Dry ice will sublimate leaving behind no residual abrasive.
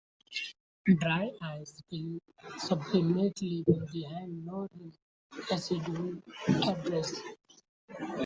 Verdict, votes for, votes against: rejected, 0, 2